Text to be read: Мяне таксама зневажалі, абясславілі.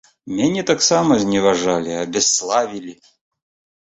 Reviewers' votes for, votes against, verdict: 4, 0, accepted